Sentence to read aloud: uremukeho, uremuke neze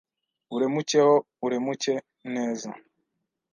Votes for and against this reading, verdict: 1, 2, rejected